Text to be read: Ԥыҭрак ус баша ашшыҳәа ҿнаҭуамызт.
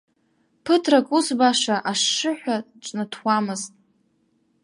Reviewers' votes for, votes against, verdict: 2, 0, accepted